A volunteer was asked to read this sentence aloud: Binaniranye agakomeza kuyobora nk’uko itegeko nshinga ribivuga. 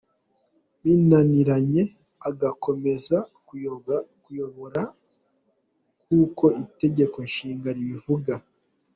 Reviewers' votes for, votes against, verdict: 2, 0, accepted